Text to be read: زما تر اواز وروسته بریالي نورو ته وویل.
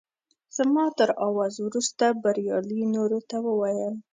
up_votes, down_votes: 3, 0